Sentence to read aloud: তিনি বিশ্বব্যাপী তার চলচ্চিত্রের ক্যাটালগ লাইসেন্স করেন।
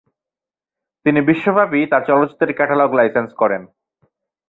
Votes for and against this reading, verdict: 2, 0, accepted